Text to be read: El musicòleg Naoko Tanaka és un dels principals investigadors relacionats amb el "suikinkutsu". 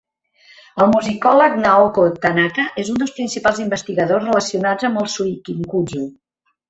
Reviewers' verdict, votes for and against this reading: accepted, 2, 1